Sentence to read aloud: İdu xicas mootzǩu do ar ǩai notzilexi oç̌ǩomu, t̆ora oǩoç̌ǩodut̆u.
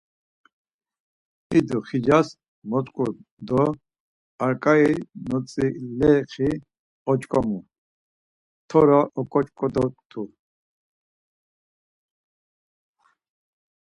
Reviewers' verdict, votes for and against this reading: rejected, 2, 4